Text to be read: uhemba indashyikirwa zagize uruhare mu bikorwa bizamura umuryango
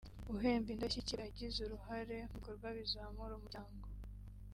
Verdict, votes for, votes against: rejected, 0, 2